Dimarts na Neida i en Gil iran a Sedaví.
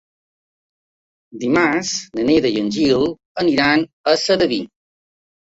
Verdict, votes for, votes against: rejected, 1, 2